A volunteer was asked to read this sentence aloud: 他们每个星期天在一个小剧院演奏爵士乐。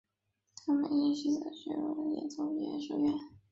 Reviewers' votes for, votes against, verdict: 0, 2, rejected